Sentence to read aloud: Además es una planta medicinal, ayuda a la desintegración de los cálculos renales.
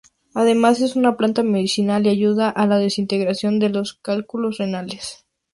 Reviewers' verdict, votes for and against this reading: accepted, 2, 0